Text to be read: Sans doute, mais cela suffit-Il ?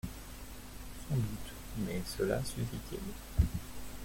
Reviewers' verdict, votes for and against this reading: rejected, 1, 2